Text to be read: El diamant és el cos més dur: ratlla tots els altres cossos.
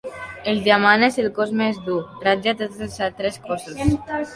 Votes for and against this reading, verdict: 2, 0, accepted